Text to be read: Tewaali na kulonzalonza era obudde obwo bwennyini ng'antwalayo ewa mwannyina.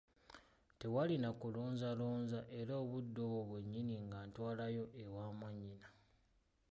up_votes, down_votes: 2, 1